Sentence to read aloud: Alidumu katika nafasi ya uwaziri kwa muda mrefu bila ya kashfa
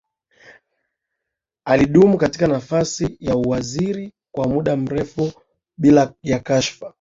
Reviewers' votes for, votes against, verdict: 3, 0, accepted